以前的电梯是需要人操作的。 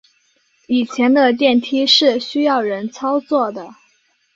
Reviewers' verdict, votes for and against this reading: accepted, 2, 0